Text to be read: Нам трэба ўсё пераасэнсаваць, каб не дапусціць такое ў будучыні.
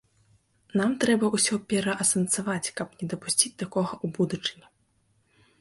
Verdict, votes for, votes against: rejected, 0, 2